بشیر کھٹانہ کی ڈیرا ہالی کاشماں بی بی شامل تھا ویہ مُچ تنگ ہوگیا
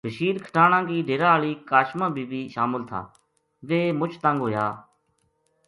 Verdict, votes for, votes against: accepted, 2, 0